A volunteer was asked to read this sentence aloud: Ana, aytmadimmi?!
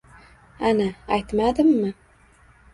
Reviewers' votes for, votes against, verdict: 2, 0, accepted